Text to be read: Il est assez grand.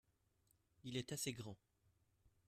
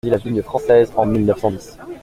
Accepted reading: first